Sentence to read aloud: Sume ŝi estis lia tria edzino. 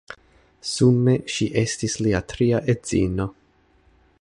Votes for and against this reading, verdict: 2, 1, accepted